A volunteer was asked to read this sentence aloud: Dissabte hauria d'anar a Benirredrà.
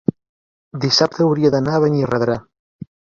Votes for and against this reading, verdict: 0, 2, rejected